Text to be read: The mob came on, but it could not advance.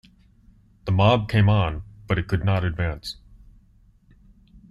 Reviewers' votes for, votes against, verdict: 2, 0, accepted